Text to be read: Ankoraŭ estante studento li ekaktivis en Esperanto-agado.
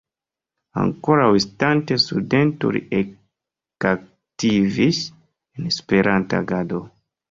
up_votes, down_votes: 1, 2